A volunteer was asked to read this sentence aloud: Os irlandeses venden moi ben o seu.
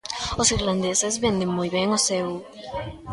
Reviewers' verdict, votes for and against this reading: accepted, 2, 1